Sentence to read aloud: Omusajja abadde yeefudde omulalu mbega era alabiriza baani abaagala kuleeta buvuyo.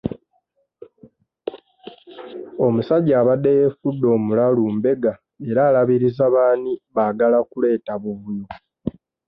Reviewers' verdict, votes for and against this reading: accepted, 2, 0